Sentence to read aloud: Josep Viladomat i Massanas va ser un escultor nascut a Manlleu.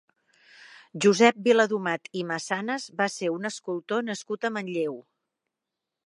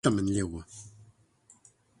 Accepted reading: first